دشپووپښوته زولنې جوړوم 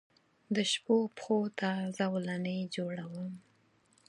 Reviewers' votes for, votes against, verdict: 6, 0, accepted